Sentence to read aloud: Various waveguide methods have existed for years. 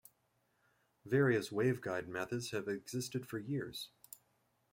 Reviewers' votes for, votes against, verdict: 2, 0, accepted